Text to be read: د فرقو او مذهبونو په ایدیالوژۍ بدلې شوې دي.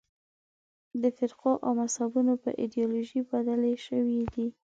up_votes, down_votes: 2, 0